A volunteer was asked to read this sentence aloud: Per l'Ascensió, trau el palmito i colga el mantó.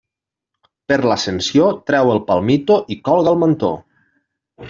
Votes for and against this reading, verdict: 2, 0, accepted